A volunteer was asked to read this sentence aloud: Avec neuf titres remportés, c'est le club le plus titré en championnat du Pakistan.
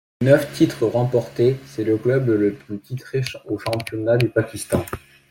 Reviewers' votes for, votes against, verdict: 0, 2, rejected